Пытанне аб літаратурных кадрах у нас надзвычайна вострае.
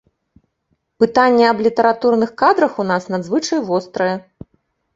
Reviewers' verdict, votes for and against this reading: rejected, 0, 2